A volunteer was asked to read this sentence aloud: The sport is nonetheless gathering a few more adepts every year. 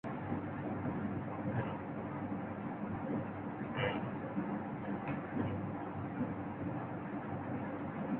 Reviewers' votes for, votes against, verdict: 0, 2, rejected